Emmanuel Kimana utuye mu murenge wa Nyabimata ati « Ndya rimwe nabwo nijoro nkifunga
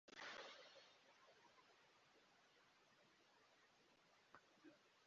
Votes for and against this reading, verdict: 0, 3, rejected